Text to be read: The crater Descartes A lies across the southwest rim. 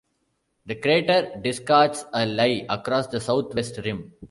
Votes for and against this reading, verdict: 0, 2, rejected